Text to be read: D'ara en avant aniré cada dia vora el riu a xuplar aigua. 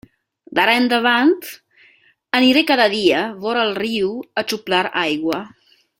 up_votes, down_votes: 1, 2